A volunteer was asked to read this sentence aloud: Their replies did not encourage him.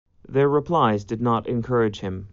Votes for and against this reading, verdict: 2, 0, accepted